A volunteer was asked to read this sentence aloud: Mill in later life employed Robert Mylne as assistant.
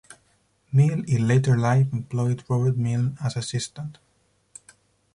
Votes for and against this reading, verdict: 4, 0, accepted